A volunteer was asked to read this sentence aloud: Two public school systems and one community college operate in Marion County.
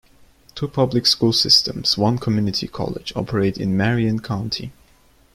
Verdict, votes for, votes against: rejected, 0, 2